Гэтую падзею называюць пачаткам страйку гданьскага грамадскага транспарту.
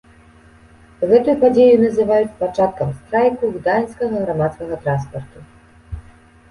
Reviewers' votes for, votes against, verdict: 2, 0, accepted